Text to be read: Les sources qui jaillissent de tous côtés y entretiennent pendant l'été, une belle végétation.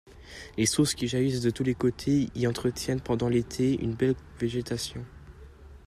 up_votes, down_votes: 2, 1